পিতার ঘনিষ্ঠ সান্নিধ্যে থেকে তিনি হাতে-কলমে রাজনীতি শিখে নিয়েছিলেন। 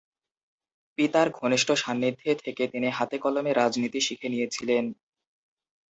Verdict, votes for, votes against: accepted, 10, 2